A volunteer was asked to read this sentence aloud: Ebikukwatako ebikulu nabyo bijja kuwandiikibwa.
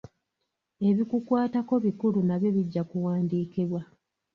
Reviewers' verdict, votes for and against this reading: rejected, 0, 2